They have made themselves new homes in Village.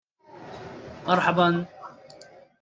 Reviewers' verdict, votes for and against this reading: rejected, 0, 3